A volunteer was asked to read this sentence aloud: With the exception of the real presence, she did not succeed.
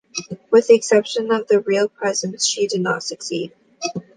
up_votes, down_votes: 2, 0